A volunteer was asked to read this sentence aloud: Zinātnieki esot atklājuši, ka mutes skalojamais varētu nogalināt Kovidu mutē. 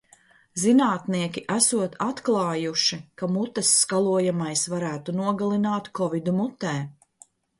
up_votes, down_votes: 2, 0